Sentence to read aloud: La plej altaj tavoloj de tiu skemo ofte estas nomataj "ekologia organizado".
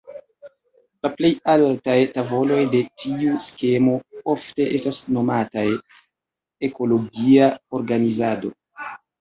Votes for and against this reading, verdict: 1, 2, rejected